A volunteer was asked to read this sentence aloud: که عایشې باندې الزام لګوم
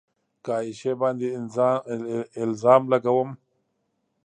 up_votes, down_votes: 2, 0